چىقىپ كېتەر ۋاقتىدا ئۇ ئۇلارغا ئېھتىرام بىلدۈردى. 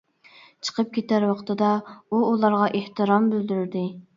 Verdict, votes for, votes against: accepted, 3, 0